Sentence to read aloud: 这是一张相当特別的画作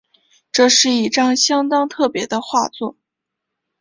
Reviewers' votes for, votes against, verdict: 1, 2, rejected